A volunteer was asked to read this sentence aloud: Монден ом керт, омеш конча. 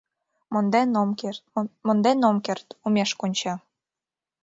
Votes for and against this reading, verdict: 0, 2, rejected